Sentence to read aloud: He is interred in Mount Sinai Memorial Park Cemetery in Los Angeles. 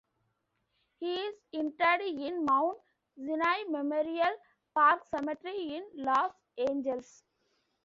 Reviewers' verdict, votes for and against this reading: rejected, 0, 2